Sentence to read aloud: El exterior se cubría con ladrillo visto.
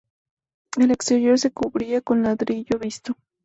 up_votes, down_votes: 0, 2